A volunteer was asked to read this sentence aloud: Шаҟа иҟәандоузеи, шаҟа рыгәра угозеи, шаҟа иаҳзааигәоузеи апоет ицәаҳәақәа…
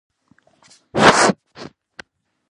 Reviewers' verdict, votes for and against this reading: rejected, 0, 2